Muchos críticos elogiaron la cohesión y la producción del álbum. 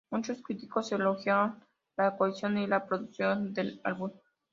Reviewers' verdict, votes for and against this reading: accepted, 3, 1